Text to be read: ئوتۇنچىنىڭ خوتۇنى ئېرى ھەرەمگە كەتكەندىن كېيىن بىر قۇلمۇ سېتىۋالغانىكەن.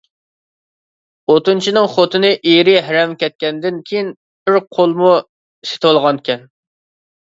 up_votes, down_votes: 0, 2